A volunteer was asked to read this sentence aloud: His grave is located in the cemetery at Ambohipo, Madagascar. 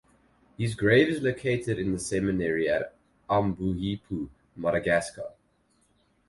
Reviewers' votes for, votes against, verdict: 2, 2, rejected